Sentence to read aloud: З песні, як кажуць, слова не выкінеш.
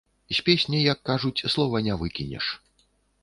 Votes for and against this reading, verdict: 2, 0, accepted